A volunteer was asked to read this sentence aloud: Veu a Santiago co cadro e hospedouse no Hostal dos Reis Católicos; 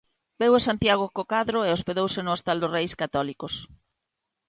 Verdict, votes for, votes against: accepted, 2, 0